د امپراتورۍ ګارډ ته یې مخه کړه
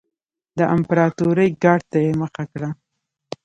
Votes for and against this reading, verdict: 2, 0, accepted